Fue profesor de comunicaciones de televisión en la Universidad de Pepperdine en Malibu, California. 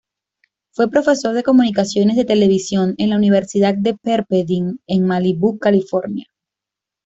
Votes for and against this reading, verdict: 2, 0, accepted